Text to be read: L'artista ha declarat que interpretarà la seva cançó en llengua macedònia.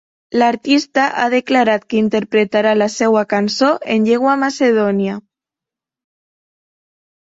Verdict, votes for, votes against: accepted, 2, 0